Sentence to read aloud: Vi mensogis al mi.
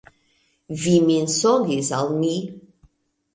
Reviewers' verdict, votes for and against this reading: accepted, 2, 1